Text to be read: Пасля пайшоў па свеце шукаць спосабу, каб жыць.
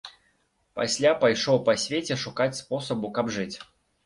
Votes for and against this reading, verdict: 2, 0, accepted